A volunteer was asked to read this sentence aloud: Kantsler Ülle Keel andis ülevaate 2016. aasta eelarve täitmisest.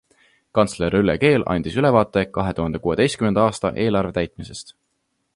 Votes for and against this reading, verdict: 0, 2, rejected